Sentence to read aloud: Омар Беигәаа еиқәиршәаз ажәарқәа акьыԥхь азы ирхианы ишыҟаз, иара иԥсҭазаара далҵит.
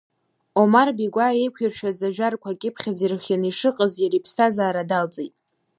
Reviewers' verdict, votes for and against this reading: accepted, 2, 0